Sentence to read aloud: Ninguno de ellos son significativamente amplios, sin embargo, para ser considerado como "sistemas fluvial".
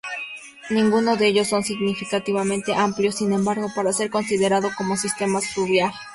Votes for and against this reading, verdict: 0, 2, rejected